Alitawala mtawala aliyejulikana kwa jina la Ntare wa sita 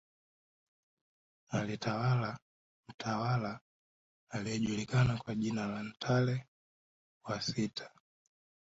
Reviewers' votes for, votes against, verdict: 0, 2, rejected